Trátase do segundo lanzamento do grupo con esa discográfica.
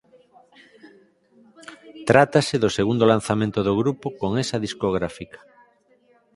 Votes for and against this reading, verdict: 4, 2, accepted